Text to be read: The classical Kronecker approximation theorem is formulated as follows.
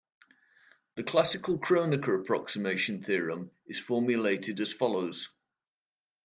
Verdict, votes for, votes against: accepted, 2, 0